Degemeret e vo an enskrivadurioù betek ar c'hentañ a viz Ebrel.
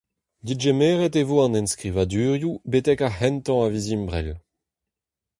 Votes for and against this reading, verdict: 2, 0, accepted